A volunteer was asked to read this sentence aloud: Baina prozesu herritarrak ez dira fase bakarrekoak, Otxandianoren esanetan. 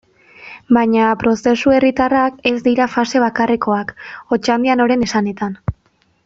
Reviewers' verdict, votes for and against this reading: accepted, 2, 0